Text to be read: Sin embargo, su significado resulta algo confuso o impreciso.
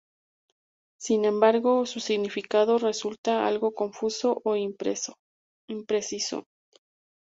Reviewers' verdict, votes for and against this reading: rejected, 0, 2